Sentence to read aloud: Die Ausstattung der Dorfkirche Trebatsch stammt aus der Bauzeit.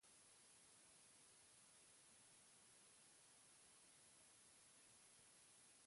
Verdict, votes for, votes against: rejected, 0, 4